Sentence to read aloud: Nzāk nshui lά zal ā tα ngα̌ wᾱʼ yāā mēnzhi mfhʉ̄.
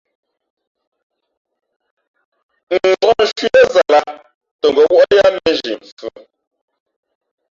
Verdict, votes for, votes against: rejected, 0, 2